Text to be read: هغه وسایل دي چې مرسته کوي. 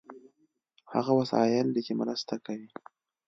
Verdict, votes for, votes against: accepted, 2, 0